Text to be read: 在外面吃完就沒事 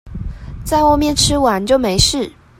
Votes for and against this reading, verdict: 2, 0, accepted